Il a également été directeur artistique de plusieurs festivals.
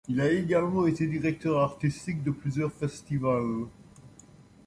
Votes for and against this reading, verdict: 2, 0, accepted